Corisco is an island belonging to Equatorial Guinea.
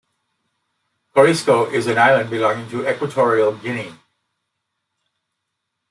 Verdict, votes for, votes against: accepted, 2, 0